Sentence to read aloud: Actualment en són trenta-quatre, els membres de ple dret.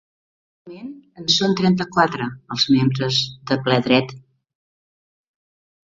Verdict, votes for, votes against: rejected, 1, 2